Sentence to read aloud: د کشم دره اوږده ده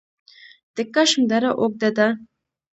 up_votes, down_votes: 1, 2